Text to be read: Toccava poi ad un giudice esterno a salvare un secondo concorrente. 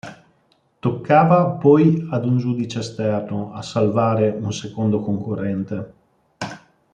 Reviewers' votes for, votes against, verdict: 2, 0, accepted